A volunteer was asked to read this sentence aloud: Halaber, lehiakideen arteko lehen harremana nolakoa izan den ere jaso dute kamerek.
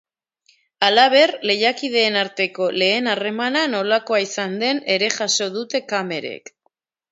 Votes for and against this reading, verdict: 2, 0, accepted